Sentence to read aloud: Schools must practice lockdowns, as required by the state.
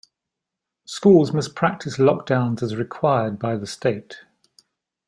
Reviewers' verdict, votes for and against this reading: accepted, 2, 0